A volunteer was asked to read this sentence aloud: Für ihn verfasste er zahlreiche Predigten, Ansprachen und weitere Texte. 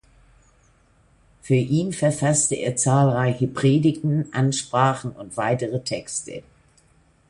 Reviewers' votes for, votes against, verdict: 2, 0, accepted